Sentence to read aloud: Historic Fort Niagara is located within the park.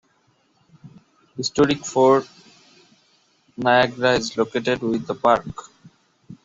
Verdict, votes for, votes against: rejected, 0, 2